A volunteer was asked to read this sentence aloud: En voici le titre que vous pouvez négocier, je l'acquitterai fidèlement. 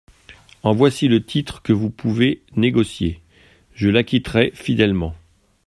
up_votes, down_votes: 2, 0